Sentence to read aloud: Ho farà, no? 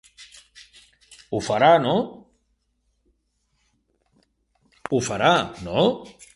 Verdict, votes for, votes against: accepted, 3, 1